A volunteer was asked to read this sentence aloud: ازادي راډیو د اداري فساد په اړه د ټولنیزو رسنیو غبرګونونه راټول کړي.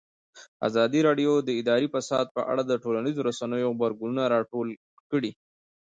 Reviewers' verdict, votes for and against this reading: accepted, 2, 0